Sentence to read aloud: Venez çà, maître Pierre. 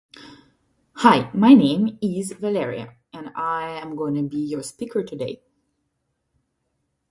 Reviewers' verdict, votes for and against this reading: rejected, 0, 2